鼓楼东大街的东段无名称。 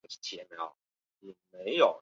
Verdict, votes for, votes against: rejected, 0, 3